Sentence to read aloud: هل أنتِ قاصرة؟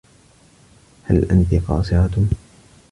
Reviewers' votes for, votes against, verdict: 2, 0, accepted